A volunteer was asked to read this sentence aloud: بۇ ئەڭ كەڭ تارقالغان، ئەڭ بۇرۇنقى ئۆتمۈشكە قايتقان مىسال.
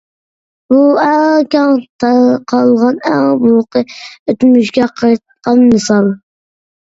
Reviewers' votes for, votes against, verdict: 2, 0, accepted